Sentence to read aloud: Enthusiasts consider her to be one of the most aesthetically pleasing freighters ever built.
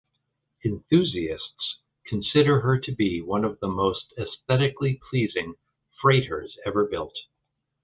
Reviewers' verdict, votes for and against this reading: accepted, 2, 0